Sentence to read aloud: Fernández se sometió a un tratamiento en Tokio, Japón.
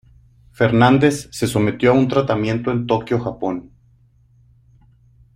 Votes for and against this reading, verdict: 0, 2, rejected